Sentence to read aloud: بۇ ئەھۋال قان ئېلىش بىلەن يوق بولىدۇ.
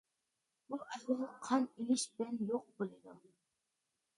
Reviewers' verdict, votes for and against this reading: rejected, 0, 2